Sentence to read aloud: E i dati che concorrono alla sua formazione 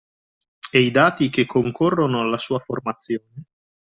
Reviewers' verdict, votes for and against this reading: accepted, 2, 1